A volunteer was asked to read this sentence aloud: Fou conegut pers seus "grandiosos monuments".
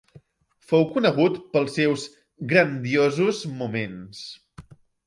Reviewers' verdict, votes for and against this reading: rejected, 1, 2